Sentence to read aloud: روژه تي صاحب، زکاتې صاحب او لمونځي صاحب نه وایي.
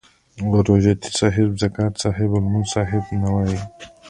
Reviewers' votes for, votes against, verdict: 2, 0, accepted